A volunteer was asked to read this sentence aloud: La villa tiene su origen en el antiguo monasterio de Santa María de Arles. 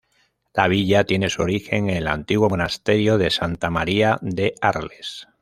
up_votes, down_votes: 0, 2